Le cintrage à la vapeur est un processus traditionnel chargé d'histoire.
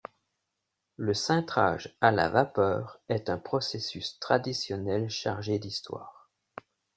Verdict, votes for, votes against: accepted, 2, 0